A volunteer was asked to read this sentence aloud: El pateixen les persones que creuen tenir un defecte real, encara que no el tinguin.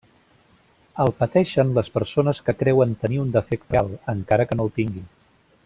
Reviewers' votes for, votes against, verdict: 1, 2, rejected